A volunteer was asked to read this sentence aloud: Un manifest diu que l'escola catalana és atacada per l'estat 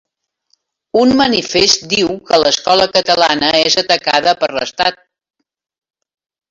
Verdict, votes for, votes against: rejected, 1, 3